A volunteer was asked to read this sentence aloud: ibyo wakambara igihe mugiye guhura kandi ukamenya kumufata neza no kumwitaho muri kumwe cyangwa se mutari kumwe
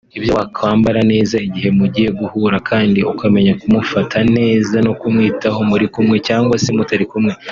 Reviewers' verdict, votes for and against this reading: rejected, 0, 2